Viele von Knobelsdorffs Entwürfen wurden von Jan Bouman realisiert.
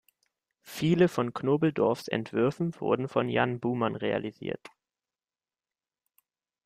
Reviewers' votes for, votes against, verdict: 1, 2, rejected